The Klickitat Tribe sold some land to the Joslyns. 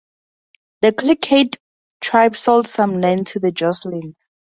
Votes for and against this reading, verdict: 0, 2, rejected